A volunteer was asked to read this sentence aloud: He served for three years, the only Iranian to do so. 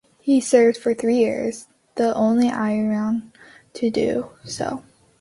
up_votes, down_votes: 2, 4